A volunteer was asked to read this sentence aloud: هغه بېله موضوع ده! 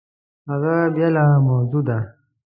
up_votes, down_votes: 2, 0